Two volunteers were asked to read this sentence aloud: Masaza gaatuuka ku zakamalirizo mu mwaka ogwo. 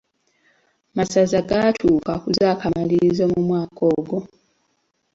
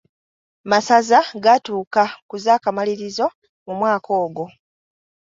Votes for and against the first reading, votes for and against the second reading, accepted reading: 2, 0, 1, 2, first